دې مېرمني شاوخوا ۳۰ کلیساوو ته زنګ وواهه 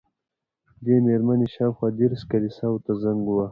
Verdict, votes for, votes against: rejected, 0, 2